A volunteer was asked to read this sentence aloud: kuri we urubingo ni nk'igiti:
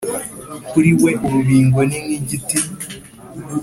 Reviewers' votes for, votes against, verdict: 2, 0, accepted